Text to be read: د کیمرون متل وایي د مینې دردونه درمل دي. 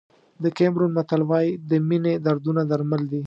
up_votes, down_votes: 2, 0